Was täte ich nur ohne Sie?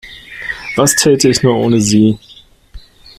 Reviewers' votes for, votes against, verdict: 3, 0, accepted